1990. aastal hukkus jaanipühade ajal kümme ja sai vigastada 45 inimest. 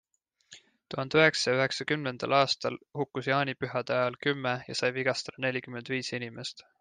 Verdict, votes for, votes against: rejected, 0, 2